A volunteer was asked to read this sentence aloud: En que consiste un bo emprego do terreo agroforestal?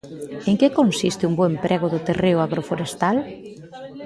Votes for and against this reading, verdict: 2, 3, rejected